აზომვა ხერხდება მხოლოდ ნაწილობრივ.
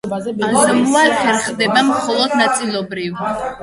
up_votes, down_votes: 0, 2